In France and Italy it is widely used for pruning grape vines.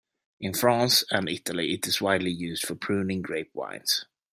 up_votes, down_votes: 2, 0